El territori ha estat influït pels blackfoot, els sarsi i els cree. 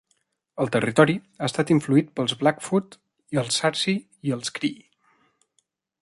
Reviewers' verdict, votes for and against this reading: rejected, 0, 2